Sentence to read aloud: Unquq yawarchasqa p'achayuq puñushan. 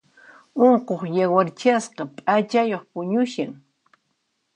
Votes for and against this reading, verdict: 2, 0, accepted